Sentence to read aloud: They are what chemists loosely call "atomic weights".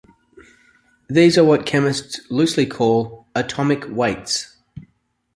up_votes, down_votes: 1, 2